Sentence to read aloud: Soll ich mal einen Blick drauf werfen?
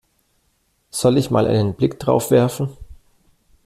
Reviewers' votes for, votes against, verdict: 2, 0, accepted